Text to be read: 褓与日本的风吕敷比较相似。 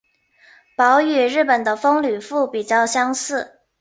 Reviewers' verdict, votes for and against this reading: accepted, 2, 0